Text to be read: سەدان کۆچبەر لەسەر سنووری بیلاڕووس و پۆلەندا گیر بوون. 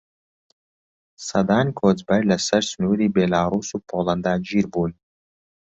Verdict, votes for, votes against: accepted, 2, 0